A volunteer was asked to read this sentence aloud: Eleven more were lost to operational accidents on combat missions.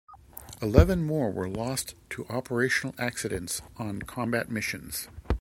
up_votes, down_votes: 2, 0